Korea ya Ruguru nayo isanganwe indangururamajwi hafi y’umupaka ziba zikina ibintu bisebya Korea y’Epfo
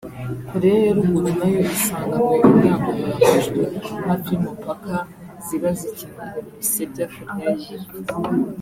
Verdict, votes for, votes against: rejected, 0, 2